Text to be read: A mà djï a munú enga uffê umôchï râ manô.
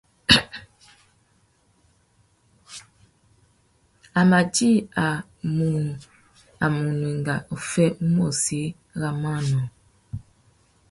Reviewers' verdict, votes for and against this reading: rejected, 1, 2